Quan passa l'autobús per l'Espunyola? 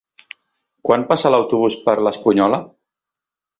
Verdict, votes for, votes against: accepted, 3, 0